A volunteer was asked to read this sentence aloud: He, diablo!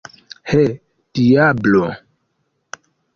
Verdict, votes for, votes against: accepted, 2, 0